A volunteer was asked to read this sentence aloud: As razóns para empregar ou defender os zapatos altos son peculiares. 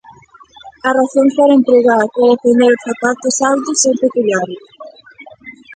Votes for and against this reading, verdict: 0, 2, rejected